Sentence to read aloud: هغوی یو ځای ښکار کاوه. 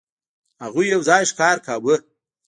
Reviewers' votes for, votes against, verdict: 0, 2, rejected